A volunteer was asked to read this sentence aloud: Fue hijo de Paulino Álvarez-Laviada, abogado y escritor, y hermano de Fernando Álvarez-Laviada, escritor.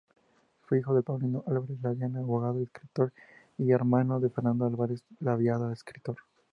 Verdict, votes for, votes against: rejected, 0, 2